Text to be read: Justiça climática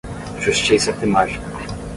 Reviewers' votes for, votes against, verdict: 5, 5, rejected